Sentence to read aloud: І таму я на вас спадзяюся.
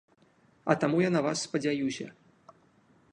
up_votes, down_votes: 1, 2